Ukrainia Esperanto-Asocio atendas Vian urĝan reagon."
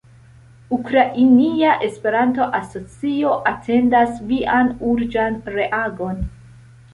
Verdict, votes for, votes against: accepted, 2, 0